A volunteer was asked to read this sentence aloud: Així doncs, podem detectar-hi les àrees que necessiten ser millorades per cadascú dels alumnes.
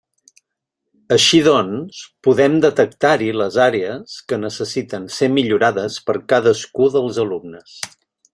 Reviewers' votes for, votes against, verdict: 3, 0, accepted